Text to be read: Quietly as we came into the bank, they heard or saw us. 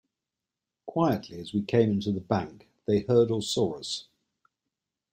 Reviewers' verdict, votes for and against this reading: accepted, 2, 0